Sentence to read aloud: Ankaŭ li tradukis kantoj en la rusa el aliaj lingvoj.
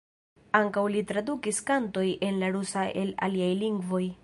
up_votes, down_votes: 1, 2